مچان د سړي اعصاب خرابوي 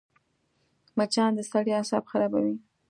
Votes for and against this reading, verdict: 2, 0, accepted